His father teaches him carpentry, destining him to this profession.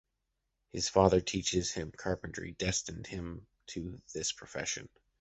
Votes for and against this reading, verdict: 0, 2, rejected